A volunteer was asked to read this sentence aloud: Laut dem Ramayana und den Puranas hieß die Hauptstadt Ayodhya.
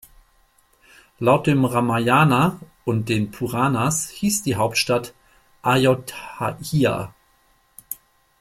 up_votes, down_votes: 0, 2